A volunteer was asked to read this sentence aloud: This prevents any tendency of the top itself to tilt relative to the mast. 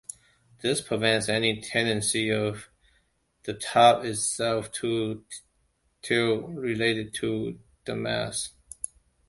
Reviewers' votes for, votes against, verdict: 0, 2, rejected